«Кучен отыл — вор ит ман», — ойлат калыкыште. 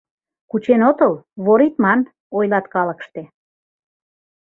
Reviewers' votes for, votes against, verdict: 2, 0, accepted